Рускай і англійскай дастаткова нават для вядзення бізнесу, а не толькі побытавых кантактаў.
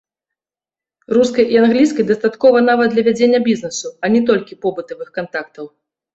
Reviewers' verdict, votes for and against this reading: accepted, 2, 0